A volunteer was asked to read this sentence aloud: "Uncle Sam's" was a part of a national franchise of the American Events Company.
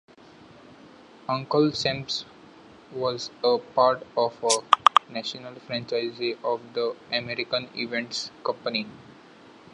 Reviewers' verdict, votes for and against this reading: rejected, 1, 2